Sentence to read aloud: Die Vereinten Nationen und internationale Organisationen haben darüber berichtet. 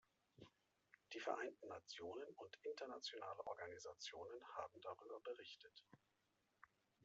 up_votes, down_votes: 1, 2